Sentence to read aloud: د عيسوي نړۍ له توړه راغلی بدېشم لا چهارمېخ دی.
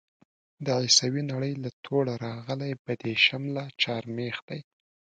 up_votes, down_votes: 2, 0